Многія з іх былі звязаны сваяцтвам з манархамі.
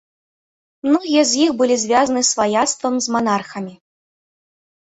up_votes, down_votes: 2, 0